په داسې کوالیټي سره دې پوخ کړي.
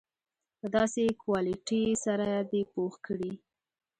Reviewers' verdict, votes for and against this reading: accepted, 2, 1